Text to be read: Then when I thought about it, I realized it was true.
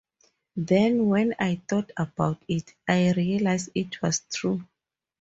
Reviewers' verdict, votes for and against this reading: accepted, 2, 0